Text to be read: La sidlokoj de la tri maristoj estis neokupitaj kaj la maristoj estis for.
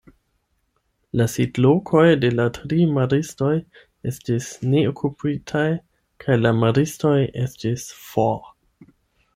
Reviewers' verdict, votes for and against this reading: accepted, 8, 0